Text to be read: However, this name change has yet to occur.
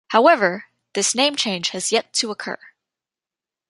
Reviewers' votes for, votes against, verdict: 2, 0, accepted